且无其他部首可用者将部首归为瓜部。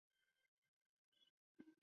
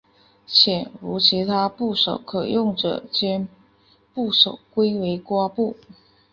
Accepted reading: second